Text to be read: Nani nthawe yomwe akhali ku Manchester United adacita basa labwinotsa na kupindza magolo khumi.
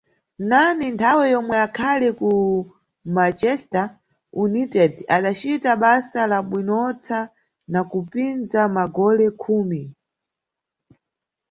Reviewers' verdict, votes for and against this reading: accepted, 2, 0